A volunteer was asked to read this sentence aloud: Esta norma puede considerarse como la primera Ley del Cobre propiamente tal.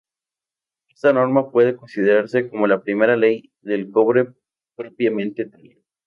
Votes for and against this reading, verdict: 0, 2, rejected